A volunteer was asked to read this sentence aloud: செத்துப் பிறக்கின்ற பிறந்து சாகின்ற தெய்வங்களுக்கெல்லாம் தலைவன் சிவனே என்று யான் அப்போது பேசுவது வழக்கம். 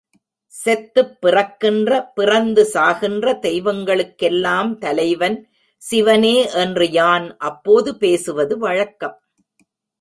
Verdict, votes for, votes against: accepted, 2, 0